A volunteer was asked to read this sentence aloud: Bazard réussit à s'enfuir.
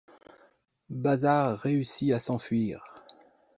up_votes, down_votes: 2, 0